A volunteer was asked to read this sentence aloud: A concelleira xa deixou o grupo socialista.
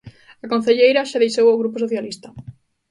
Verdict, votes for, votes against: accepted, 2, 0